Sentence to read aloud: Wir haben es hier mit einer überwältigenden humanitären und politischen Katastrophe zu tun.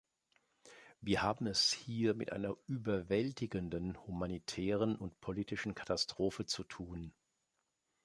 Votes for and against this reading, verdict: 2, 0, accepted